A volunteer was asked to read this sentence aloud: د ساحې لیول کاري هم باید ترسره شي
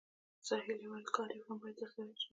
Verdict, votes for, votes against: rejected, 0, 2